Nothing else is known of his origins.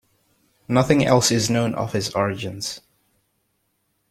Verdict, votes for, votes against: accepted, 2, 0